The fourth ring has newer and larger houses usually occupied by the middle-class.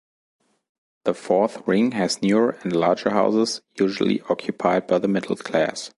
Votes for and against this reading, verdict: 2, 0, accepted